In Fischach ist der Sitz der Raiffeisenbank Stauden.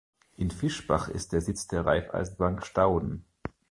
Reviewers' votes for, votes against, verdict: 0, 2, rejected